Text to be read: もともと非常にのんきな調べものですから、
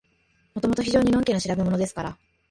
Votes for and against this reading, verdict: 1, 2, rejected